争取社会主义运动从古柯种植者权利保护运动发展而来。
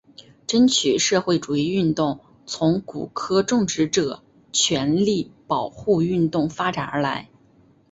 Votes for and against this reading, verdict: 2, 0, accepted